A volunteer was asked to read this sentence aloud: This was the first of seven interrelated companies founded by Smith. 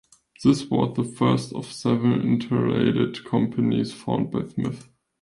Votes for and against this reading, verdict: 1, 2, rejected